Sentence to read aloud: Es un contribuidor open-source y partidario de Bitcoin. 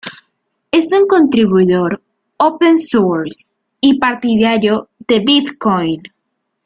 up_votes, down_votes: 0, 2